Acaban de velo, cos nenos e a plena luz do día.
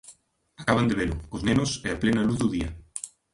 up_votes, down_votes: 2, 1